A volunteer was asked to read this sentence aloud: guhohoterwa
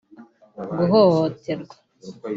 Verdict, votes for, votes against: accepted, 2, 0